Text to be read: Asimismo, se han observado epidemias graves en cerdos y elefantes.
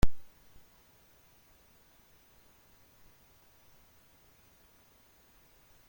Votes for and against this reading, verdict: 0, 2, rejected